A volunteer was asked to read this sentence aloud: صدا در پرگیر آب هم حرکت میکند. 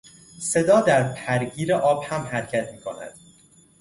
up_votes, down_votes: 2, 0